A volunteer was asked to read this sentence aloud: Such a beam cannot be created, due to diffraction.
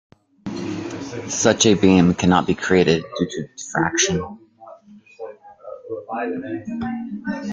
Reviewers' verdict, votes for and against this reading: rejected, 0, 2